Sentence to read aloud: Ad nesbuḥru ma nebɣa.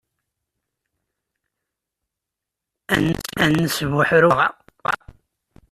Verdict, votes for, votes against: rejected, 0, 2